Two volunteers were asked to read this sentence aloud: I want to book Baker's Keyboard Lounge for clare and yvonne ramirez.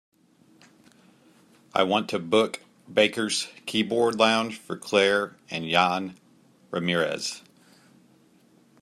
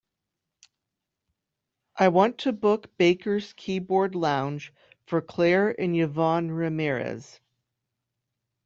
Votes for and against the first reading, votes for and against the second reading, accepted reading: 1, 2, 2, 0, second